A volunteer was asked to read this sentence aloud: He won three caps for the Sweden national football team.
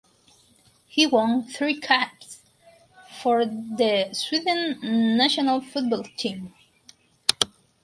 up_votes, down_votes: 4, 0